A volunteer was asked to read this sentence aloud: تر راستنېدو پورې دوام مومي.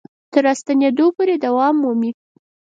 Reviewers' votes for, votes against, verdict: 4, 0, accepted